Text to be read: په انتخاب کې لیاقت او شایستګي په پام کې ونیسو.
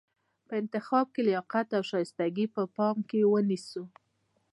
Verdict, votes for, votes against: accepted, 2, 0